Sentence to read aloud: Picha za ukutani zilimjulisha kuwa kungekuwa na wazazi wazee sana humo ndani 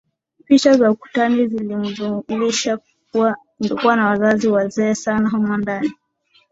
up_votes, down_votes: 0, 2